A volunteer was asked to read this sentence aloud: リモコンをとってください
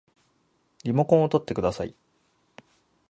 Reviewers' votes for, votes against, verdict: 3, 3, rejected